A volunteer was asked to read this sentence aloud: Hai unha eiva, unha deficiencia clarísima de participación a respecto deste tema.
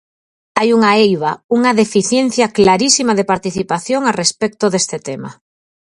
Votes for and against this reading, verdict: 4, 0, accepted